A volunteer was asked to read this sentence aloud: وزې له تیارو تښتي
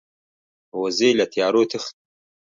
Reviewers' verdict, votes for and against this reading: accepted, 2, 1